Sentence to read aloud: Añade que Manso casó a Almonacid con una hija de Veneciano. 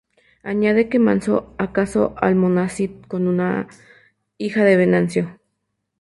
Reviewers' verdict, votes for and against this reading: rejected, 0, 4